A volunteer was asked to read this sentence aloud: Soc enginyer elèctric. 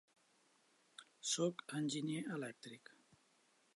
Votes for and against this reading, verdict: 2, 0, accepted